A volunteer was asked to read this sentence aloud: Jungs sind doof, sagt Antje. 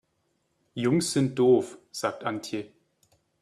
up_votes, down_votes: 3, 0